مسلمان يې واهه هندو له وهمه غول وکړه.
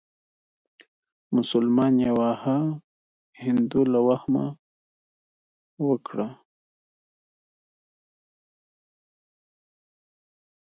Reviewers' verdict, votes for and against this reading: accepted, 2, 0